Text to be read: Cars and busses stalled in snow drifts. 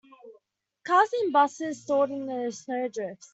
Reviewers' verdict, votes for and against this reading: accepted, 2, 1